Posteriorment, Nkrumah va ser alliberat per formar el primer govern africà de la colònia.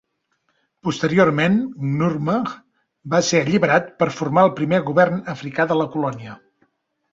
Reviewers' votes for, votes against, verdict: 0, 2, rejected